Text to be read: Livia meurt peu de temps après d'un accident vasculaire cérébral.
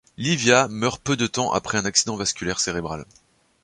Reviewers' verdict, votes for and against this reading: rejected, 1, 2